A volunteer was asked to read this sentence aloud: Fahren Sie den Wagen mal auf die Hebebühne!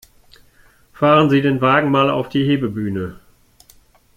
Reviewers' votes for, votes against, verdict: 2, 0, accepted